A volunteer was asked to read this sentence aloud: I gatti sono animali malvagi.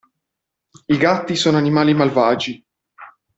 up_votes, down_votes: 2, 0